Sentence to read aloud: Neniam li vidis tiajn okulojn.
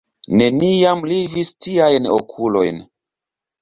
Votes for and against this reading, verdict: 2, 0, accepted